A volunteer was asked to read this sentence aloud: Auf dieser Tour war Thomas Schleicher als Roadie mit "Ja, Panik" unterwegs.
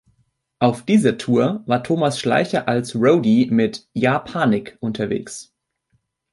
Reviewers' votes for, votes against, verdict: 1, 2, rejected